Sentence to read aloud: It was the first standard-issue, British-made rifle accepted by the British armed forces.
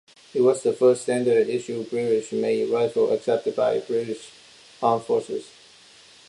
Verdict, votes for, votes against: rejected, 0, 2